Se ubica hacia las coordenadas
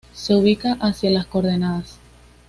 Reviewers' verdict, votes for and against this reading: accepted, 2, 0